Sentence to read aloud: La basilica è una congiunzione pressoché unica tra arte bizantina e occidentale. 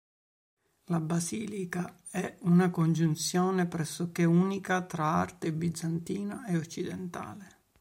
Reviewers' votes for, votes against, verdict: 4, 0, accepted